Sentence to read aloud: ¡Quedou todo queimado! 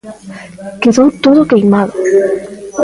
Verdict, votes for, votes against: rejected, 1, 2